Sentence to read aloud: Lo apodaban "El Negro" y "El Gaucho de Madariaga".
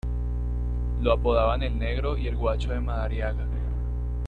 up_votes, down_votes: 0, 2